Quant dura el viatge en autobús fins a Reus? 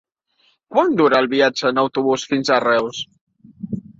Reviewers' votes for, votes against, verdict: 3, 0, accepted